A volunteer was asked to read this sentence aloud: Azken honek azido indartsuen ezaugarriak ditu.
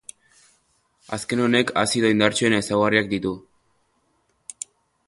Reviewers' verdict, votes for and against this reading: accepted, 2, 0